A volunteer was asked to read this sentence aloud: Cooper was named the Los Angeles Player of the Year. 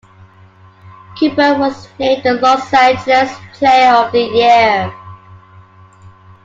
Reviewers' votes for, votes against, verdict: 2, 0, accepted